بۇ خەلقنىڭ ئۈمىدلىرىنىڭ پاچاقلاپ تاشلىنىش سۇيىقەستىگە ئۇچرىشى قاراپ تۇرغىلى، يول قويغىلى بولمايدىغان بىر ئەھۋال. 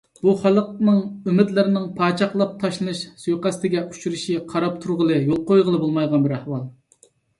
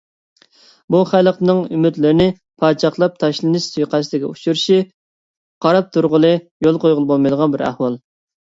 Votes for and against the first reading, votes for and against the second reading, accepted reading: 2, 0, 1, 2, first